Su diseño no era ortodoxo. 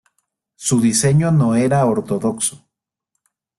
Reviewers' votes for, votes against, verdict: 2, 0, accepted